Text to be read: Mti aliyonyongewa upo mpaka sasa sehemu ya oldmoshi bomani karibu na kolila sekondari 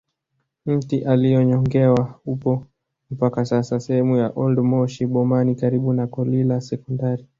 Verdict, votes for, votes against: accepted, 2, 0